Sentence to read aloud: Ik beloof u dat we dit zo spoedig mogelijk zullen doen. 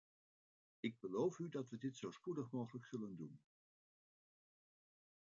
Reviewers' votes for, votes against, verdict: 0, 2, rejected